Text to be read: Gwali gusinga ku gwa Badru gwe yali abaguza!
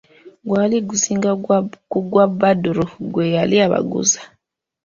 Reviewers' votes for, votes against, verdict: 2, 3, rejected